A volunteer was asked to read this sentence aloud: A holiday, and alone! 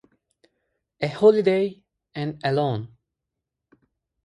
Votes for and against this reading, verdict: 4, 0, accepted